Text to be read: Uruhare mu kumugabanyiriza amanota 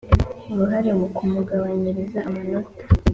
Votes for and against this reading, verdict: 2, 0, accepted